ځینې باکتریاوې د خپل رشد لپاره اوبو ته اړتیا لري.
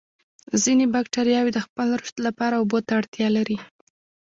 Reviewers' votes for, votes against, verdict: 0, 2, rejected